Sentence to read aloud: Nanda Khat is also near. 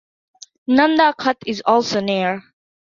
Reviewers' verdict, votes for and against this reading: accepted, 2, 0